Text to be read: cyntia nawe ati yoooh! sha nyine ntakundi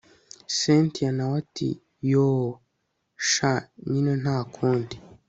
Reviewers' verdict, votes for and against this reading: accepted, 3, 0